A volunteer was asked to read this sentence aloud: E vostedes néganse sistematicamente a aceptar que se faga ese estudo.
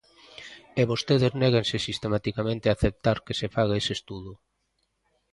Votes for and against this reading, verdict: 3, 0, accepted